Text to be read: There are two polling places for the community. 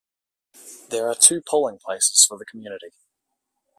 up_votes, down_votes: 2, 0